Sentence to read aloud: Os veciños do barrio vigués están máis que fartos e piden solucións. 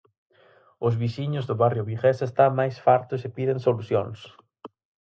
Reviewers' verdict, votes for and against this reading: rejected, 0, 4